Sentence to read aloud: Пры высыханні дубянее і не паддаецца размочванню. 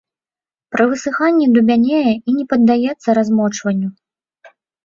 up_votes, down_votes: 1, 2